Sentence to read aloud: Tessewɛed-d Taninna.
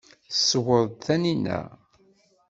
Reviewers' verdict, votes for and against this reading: rejected, 1, 2